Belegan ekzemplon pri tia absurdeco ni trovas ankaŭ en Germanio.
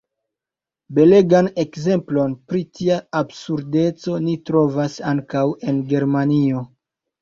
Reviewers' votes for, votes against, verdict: 2, 0, accepted